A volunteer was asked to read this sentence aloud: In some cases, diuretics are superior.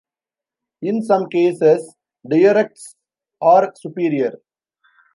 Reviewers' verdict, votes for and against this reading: rejected, 0, 2